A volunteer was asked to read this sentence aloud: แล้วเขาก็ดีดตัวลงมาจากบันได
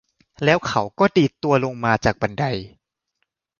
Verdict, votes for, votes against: accepted, 2, 1